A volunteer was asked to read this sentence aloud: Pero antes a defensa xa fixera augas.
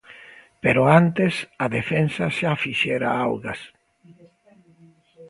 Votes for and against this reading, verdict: 1, 2, rejected